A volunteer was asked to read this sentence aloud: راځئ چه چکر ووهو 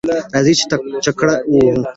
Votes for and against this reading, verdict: 0, 2, rejected